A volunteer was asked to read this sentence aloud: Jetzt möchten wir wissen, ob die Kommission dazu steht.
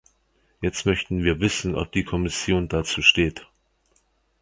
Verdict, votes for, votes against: accepted, 2, 0